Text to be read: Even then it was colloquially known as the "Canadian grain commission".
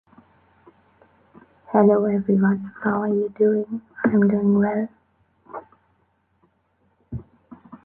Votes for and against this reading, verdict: 1, 3, rejected